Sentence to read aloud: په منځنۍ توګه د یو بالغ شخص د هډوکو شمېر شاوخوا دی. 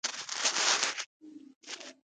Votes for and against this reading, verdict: 0, 2, rejected